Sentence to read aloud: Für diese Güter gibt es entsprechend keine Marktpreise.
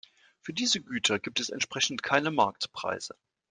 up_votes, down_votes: 2, 0